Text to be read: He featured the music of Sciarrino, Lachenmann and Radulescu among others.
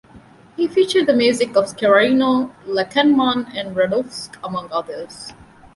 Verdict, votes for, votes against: rejected, 0, 2